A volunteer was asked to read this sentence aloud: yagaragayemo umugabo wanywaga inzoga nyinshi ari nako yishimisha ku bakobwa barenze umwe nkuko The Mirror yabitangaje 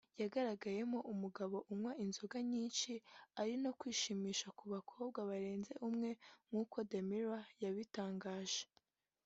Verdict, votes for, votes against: accepted, 2, 0